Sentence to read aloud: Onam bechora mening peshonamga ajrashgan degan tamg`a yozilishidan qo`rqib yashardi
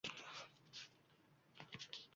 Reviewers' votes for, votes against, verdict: 1, 2, rejected